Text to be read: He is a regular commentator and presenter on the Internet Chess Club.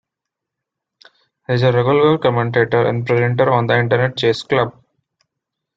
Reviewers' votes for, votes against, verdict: 2, 0, accepted